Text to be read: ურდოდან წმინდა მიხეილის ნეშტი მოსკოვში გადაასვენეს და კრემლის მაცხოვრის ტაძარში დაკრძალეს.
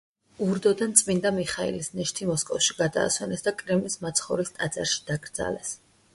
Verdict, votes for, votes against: accepted, 2, 0